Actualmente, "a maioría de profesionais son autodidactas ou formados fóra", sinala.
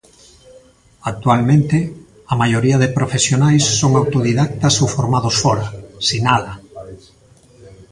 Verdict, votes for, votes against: accepted, 2, 0